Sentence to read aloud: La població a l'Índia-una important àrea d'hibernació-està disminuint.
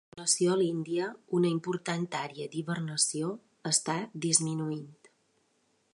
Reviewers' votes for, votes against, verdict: 0, 2, rejected